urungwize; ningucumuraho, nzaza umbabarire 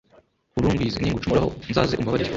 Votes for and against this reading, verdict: 1, 2, rejected